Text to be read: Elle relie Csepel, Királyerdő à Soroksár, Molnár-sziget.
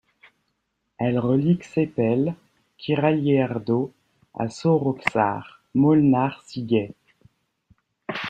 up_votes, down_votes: 2, 0